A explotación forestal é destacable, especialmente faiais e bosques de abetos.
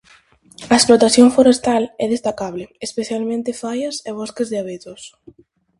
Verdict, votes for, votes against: rejected, 0, 4